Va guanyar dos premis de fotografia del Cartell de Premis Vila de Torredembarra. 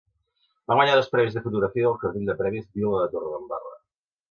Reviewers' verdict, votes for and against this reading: rejected, 0, 2